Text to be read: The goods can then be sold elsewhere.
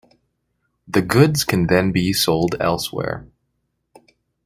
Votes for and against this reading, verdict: 0, 2, rejected